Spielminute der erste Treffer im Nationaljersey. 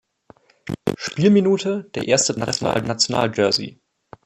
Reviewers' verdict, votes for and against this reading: rejected, 0, 2